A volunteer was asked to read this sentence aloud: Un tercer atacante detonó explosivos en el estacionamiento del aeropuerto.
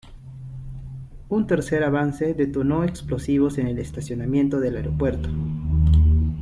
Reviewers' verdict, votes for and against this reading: rejected, 0, 2